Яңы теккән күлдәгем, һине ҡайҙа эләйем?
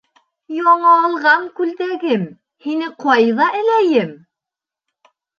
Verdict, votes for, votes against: rejected, 0, 2